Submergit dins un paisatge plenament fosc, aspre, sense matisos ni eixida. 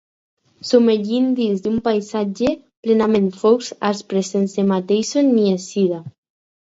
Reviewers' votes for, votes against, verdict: 0, 4, rejected